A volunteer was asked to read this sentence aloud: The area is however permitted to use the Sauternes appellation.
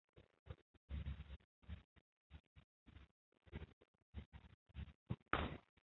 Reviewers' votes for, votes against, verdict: 0, 2, rejected